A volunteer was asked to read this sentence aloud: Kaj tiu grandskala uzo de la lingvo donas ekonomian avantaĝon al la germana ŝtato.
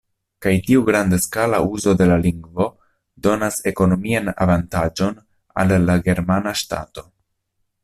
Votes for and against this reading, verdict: 1, 2, rejected